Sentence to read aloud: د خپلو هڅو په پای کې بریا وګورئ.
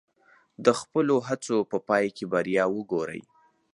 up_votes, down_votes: 4, 0